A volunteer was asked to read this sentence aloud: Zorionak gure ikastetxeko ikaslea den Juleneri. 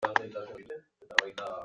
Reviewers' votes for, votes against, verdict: 0, 2, rejected